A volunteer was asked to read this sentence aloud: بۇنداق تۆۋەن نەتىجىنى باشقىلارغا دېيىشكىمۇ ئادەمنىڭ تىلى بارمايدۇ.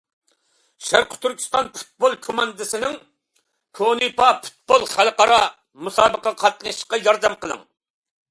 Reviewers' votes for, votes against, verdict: 0, 2, rejected